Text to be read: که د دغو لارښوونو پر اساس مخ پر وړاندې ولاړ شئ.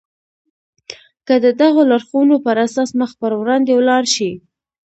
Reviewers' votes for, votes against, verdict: 3, 0, accepted